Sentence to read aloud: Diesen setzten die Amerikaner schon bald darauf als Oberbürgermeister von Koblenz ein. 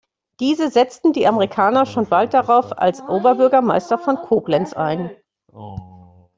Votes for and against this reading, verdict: 1, 2, rejected